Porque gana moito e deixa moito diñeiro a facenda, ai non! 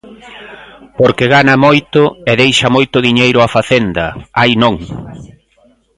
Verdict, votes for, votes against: accepted, 2, 0